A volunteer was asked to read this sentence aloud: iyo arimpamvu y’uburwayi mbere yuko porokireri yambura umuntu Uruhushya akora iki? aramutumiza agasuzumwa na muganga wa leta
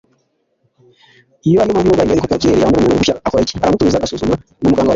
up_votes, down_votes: 1, 2